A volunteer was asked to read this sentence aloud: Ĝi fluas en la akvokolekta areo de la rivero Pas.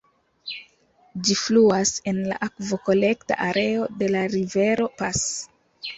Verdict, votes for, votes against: accepted, 2, 0